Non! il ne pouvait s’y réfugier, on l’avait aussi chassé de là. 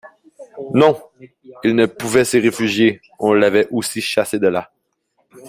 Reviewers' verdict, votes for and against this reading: rejected, 1, 2